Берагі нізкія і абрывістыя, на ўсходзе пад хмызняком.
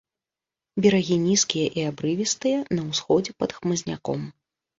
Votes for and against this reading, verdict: 2, 0, accepted